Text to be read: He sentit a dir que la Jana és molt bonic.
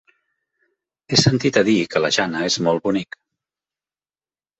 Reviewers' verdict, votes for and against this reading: rejected, 1, 2